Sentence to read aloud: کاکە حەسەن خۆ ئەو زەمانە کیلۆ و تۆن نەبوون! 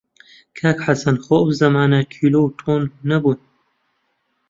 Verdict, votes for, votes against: rejected, 0, 2